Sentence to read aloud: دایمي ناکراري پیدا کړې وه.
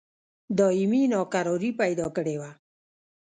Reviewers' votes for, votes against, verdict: 0, 2, rejected